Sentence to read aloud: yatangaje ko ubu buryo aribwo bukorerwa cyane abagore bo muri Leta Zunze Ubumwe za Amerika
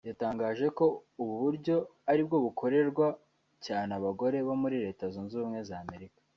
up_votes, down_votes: 4, 0